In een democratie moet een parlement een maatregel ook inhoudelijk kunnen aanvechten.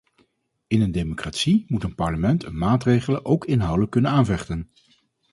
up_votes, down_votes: 2, 2